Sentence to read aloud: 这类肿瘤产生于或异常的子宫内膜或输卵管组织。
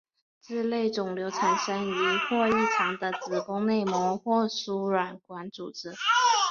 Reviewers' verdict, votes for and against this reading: rejected, 1, 3